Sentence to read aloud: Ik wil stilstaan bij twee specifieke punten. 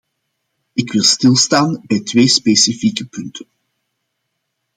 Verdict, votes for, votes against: accepted, 2, 0